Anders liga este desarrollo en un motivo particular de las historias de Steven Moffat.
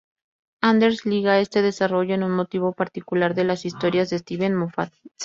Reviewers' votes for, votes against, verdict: 2, 0, accepted